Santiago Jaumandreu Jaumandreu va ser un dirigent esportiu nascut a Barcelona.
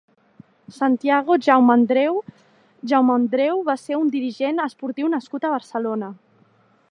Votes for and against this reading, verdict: 0, 2, rejected